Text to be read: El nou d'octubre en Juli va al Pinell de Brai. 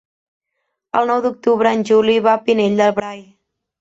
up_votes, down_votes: 1, 2